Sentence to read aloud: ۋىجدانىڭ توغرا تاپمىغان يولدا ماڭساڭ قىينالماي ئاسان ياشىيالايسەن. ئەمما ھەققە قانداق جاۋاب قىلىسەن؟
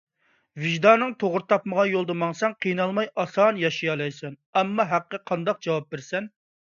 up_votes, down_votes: 1, 2